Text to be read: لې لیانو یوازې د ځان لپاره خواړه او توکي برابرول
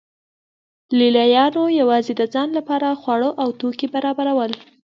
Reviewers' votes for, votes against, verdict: 2, 0, accepted